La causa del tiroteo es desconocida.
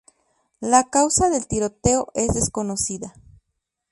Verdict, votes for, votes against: rejected, 0, 2